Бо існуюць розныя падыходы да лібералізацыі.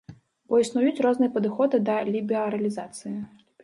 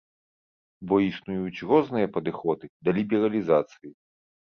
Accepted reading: second